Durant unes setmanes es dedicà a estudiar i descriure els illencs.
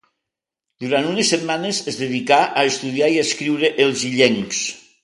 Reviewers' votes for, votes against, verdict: 2, 1, accepted